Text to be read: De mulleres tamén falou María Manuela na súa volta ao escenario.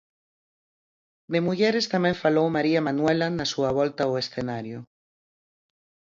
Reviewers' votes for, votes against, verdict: 2, 4, rejected